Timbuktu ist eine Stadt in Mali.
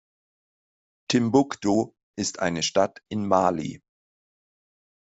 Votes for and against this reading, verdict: 2, 0, accepted